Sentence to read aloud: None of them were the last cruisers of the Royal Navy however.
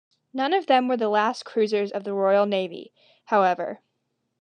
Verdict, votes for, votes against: accepted, 2, 0